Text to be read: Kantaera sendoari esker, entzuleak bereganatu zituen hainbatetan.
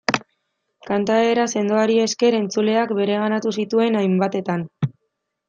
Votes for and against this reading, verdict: 2, 0, accepted